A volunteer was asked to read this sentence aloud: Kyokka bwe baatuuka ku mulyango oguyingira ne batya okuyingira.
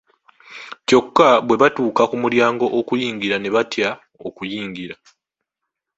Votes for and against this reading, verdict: 2, 1, accepted